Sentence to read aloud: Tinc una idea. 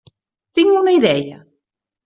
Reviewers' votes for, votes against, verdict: 0, 2, rejected